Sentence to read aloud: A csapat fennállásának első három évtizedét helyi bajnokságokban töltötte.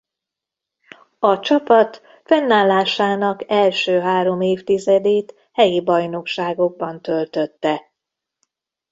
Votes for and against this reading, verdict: 0, 2, rejected